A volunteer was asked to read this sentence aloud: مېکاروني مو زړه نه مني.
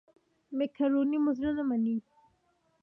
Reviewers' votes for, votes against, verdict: 2, 0, accepted